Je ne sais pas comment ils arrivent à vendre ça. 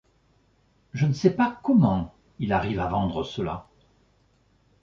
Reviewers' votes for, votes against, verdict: 1, 2, rejected